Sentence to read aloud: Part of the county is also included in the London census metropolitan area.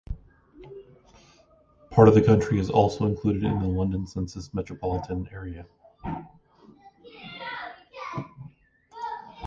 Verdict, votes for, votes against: rejected, 0, 2